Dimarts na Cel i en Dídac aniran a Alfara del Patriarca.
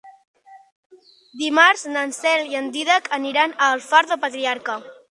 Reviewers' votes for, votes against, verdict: 0, 4, rejected